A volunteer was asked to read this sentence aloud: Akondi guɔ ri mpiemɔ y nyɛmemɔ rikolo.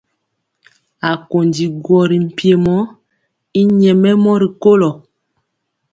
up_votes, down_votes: 2, 0